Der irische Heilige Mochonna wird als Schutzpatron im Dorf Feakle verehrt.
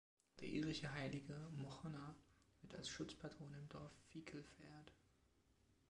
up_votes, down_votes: 1, 2